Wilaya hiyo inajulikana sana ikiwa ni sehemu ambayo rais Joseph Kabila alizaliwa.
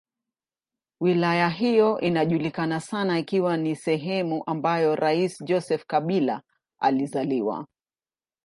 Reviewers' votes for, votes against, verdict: 2, 0, accepted